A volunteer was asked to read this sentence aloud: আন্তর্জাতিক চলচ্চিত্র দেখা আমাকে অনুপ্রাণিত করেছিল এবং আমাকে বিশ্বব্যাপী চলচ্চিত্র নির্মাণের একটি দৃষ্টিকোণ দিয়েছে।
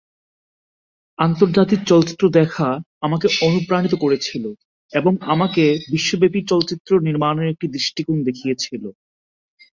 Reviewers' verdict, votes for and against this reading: rejected, 0, 2